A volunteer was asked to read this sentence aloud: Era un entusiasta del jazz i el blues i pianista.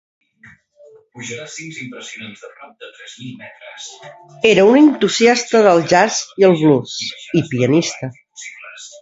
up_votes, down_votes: 0, 2